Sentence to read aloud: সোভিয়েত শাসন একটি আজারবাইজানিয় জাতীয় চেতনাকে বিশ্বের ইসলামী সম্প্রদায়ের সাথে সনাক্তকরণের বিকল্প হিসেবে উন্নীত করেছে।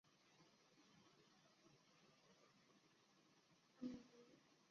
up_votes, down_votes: 0, 2